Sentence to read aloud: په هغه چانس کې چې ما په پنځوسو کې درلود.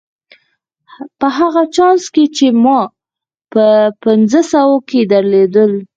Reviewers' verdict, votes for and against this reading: accepted, 4, 0